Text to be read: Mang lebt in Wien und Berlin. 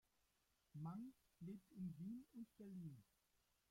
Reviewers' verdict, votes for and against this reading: rejected, 0, 2